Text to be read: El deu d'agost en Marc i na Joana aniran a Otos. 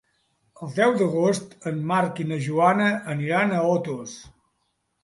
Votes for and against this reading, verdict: 3, 0, accepted